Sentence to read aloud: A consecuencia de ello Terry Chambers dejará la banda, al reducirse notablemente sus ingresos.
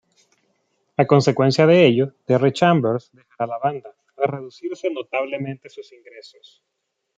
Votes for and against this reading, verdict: 1, 2, rejected